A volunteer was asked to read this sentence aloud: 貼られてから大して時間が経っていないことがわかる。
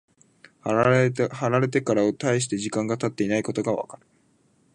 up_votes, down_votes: 1, 2